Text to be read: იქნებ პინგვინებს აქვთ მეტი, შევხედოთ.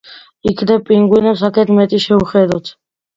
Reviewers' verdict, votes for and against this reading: accepted, 2, 1